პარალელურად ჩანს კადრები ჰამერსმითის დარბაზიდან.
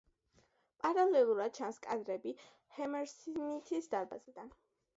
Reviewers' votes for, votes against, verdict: 0, 2, rejected